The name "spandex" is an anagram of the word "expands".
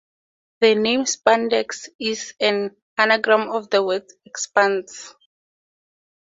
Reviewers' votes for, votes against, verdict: 4, 0, accepted